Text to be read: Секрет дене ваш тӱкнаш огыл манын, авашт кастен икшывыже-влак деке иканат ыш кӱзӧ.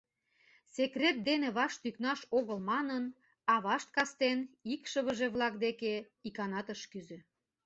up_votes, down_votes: 2, 0